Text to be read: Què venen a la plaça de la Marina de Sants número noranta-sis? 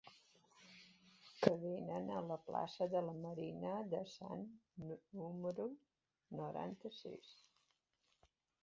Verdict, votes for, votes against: rejected, 0, 2